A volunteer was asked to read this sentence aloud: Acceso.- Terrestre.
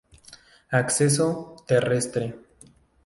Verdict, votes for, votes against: accepted, 2, 0